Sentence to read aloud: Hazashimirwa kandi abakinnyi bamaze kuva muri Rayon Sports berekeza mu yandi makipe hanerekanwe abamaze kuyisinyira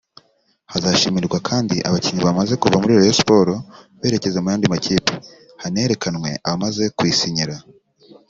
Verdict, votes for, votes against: accepted, 2, 0